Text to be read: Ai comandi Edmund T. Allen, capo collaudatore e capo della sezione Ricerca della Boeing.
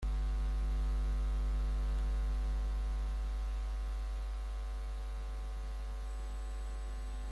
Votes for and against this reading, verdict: 0, 2, rejected